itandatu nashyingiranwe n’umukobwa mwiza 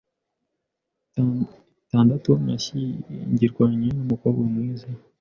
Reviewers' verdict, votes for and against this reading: accepted, 2, 1